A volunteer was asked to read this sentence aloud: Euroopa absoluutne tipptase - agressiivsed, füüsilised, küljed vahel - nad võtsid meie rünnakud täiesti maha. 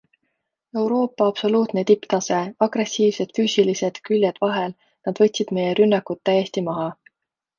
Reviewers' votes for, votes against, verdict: 2, 0, accepted